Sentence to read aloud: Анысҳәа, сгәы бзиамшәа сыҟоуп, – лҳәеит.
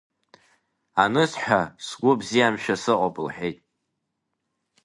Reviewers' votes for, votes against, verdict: 2, 0, accepted